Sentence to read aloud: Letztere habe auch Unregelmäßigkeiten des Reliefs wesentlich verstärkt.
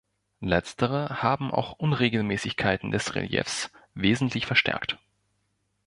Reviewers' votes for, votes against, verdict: 1, 2, rejected